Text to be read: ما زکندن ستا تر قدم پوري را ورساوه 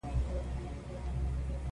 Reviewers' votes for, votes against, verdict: 0, 2, rejected